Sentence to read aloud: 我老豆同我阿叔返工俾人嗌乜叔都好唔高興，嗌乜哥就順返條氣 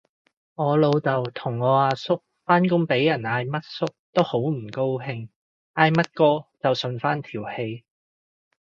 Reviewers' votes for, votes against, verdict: 2, 0, accepted